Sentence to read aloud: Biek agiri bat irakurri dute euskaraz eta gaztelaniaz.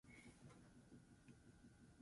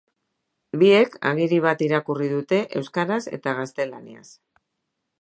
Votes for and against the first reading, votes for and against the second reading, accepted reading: 2, 4, 2, 0, second